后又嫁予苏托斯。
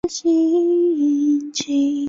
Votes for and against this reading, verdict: 0, 2, rejected